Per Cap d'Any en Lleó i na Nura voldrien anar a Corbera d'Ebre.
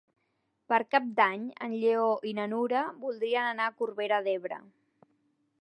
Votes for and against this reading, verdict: 3, 0, accepted